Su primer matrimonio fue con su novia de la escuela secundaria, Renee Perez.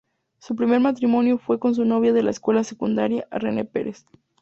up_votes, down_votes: 4, 0